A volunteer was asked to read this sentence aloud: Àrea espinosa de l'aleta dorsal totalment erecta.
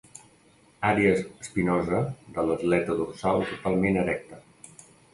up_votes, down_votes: 1, 2